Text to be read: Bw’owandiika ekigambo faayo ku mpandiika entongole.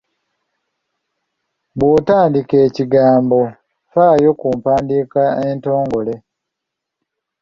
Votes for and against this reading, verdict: 1, 2, rejected